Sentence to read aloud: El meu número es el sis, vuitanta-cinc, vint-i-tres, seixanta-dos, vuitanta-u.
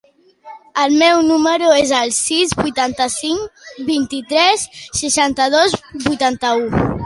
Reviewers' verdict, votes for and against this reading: accepted, 2, 0